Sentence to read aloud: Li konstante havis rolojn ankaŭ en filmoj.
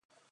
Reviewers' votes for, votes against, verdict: 0, 2, rejected